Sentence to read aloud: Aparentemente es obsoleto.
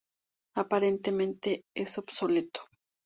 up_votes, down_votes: 2, 0